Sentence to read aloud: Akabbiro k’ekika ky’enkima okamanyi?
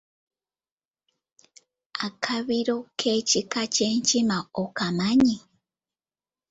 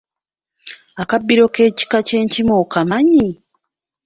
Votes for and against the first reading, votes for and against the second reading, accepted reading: 1, 2, 3, 0, second